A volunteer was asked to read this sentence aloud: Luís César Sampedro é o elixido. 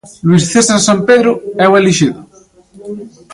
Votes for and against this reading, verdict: 1, 2, rejected